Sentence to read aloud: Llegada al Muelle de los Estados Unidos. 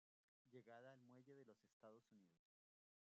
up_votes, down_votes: 0, 2